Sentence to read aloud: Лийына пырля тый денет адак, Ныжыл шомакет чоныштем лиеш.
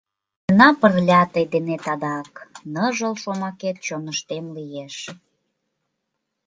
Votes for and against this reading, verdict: 1, 2, rejected